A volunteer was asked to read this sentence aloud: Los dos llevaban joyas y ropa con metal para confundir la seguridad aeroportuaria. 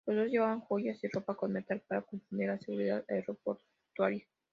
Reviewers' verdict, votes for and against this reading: rejected, 0, 2